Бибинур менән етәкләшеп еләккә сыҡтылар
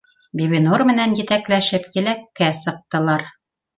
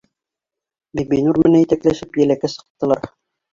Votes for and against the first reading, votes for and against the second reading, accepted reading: 2, 0, 1, 2, first